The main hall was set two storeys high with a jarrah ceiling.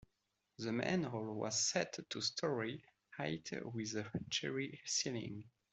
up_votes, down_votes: 0, 2